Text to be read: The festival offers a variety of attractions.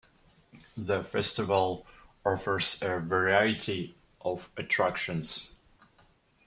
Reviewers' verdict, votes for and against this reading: accepted, 2, 0